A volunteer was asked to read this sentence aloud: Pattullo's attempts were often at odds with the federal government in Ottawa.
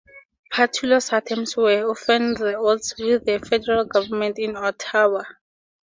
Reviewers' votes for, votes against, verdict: 2, 0, accepted